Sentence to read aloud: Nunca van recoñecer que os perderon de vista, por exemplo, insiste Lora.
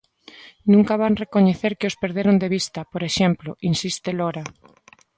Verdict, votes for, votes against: accepted, 2, 0